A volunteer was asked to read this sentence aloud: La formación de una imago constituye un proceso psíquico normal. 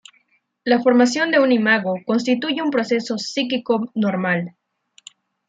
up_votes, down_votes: 0, 2